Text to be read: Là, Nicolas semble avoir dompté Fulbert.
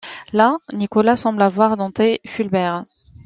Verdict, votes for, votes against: accepted, 2, 0